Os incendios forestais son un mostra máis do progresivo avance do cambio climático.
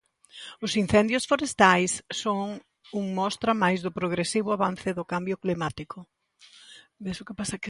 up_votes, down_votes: 0, 2